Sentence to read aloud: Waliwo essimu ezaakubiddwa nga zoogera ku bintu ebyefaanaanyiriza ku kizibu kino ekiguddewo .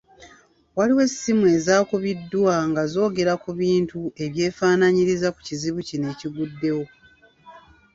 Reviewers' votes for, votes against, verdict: 1, 2, rejected